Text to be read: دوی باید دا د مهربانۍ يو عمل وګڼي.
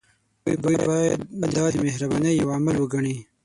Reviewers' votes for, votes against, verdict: 0, 6, rejected